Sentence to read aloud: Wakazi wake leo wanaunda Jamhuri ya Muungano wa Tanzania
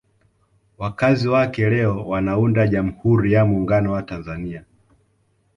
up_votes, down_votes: 2, 1